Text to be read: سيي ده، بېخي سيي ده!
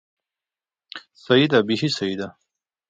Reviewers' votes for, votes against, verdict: 2, 0, accepted